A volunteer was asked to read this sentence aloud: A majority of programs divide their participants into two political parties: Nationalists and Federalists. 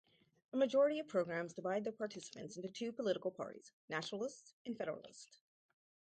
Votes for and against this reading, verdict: 2, 2, rejected